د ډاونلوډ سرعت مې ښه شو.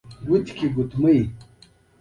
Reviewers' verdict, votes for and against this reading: rejected, 1, 2